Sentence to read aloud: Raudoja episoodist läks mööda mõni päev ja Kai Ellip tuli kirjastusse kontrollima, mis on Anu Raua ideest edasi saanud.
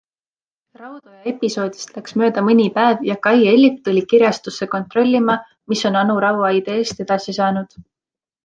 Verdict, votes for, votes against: accepted, 2, 0